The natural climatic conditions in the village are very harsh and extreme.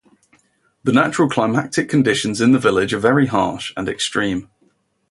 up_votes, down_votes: 2, 2